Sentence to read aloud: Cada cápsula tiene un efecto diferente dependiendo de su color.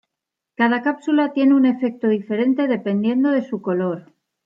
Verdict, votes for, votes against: accepted, 2, 1